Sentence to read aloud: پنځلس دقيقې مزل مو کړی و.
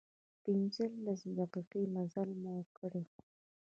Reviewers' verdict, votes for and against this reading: rejected, 1, 2